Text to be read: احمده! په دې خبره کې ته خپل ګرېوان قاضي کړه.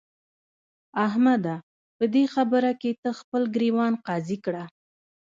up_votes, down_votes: 0, 2